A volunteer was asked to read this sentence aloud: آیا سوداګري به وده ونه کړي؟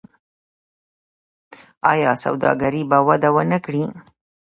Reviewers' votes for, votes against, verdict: 1, 2, rejected